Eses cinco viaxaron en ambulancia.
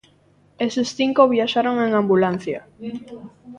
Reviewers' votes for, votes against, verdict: 0, 2, rejected